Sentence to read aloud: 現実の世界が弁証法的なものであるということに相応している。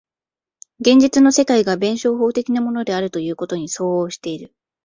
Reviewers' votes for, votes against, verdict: 2, 0, accepted